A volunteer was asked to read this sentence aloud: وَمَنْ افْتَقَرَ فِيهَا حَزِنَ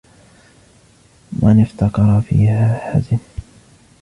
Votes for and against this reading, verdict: 1, 2, rejected